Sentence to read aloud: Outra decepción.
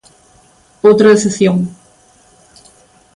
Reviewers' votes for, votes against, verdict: 2, 1, accepted